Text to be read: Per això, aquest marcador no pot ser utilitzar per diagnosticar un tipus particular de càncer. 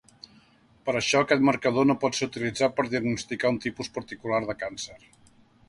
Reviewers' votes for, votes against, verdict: 2, 0, accepted